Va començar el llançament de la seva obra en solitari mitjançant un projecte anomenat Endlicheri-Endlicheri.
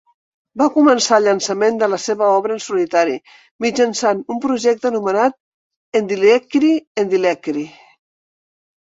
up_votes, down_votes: 2, 1